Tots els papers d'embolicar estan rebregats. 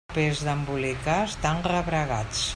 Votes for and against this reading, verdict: 0, 2, rejected